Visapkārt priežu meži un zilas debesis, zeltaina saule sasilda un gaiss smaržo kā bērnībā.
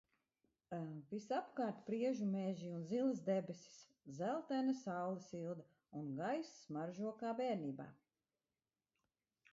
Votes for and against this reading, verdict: 1, 2, rejected